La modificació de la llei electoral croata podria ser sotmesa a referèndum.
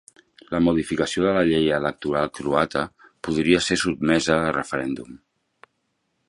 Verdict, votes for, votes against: accepted, 2, 0